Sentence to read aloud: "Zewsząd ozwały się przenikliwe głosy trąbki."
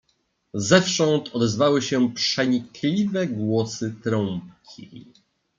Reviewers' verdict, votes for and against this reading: rejected, 1, 2